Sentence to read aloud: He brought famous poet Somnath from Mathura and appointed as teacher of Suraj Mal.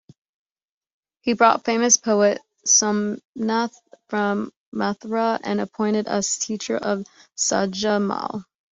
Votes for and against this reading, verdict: 1, 2, rejected